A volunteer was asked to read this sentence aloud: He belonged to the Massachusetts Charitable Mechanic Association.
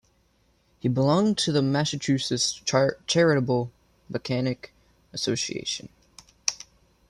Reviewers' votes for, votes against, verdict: 2, 3, rejected